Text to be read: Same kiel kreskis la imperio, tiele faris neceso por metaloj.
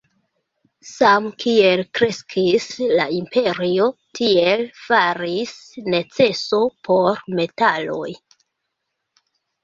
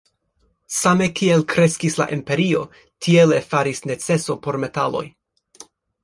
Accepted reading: second